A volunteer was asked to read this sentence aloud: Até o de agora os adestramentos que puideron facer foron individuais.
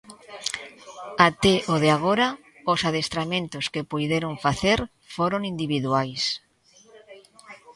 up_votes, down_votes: 2, 0